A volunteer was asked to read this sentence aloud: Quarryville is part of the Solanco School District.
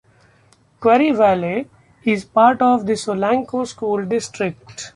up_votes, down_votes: 1, 2